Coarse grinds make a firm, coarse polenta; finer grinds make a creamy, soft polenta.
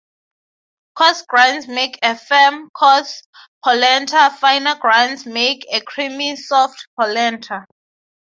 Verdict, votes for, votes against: accepted, 3, 0